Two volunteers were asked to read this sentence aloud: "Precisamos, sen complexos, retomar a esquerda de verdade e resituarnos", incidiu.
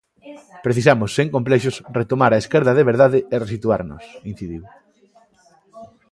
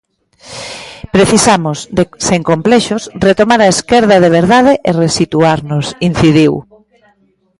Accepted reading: first